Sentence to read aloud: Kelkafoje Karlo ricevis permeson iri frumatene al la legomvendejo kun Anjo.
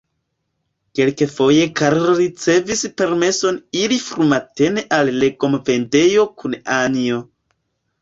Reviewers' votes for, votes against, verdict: 0, 2, rejected